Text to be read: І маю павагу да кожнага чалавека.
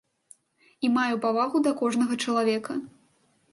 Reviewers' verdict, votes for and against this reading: accepted, 2, 0